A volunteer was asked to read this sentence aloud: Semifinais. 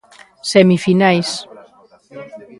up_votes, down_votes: 1, 2